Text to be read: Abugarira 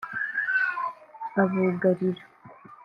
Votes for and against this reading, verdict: 1, 2, rejected